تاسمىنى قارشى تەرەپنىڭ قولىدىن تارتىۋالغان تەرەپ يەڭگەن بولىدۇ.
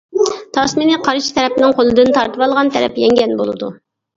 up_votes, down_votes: 2, 0